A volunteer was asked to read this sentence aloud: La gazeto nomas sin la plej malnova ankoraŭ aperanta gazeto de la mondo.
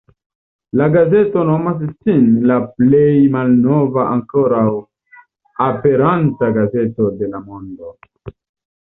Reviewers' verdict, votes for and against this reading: accepted, 2, 0